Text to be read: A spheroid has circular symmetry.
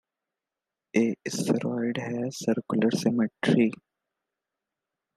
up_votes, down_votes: 1, 2